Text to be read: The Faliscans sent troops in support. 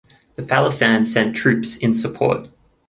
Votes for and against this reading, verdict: 3, 1, accepted